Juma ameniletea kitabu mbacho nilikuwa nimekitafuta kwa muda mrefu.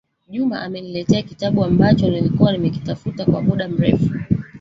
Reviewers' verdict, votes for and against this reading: rejected, 1, 2